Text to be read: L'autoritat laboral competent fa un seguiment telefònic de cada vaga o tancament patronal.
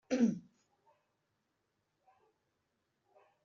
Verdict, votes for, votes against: rejected, 1, 2